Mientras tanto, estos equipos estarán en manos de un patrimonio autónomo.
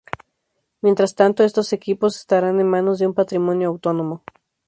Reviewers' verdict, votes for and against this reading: accepted, 2, 0